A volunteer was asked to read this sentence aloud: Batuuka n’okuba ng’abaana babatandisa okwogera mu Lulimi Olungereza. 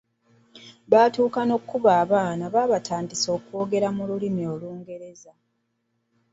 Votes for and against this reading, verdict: 0, 2, rejected